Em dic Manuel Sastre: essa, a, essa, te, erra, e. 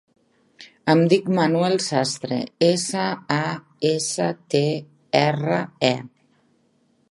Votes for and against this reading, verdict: 3, 0, accepted